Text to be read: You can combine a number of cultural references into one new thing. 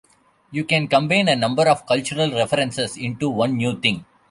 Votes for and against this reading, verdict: 1, 2, rejected